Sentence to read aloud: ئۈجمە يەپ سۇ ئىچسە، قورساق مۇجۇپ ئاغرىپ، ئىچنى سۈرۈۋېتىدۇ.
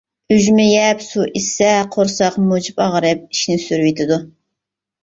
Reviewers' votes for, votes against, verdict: 2, 0, accepted